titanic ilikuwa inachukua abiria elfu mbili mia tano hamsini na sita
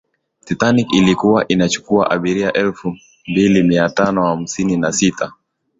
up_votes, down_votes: 4, 2